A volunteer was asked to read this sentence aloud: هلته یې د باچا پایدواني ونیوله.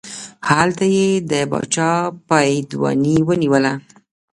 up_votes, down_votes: 1, 2